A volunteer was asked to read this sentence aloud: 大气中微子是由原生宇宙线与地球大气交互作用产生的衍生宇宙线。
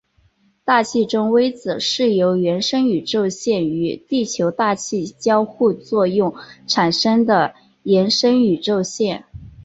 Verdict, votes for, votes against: accepted, 7, 0